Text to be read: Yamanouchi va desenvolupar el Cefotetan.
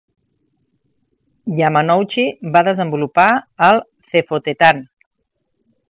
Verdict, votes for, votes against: accepted, 2, 0